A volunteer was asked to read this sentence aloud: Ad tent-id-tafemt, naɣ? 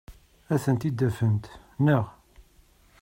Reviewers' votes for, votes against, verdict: 2, 0, accepted